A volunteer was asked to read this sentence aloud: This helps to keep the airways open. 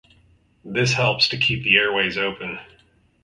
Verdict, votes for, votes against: accepted, 4, 0